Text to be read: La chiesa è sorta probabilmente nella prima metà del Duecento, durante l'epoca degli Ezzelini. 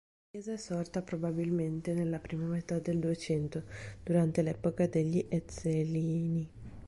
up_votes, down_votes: 1, 2